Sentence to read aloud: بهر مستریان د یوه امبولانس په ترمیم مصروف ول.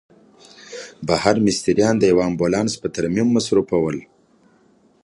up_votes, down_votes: 2, 0